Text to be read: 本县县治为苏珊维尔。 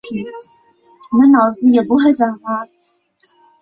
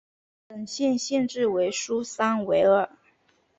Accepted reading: second